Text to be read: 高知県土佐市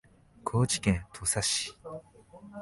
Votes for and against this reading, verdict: 4, 0, accepted